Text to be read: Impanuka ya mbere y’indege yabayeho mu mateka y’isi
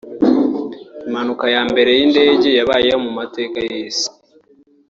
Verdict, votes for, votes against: rejected, 1, 2